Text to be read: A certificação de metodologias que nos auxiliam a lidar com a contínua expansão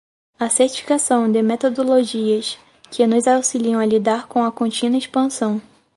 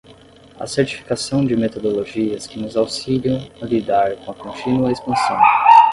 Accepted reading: first